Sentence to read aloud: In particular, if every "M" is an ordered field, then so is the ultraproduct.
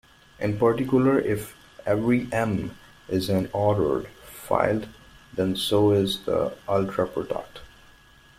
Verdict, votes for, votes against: rejected, 0, 2